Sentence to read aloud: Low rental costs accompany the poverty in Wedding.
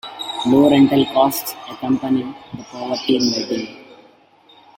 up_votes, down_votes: 0, 2